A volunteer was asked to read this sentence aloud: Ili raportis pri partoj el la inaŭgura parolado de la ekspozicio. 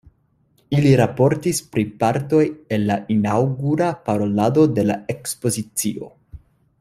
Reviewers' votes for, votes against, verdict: 2, 0, accepted